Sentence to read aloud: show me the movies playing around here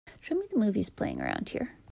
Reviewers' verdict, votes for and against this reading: accepted, 2, 0